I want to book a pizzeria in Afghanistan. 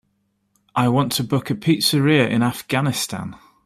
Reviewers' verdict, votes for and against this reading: accepted, 2, 0